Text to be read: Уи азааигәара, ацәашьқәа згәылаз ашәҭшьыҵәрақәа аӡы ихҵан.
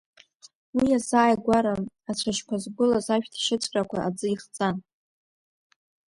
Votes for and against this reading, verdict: 2, 1, accepted